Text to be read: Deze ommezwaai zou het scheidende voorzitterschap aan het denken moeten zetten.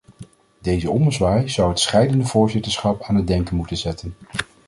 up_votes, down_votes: 2, 0